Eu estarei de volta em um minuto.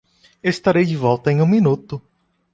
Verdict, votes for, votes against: rejected, 1, 2